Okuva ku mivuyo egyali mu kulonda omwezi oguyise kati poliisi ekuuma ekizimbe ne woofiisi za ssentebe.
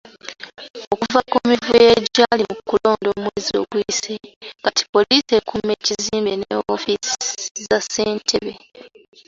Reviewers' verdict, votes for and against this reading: accepted, 3, 0